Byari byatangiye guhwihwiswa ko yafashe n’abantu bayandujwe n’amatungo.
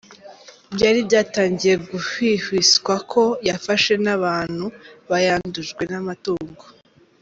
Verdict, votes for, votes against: accepted, 3, 0